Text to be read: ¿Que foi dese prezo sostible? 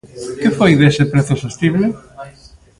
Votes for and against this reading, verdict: 1, 2, rejected